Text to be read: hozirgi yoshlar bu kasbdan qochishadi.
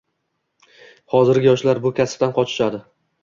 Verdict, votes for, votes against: accepted, 2, 0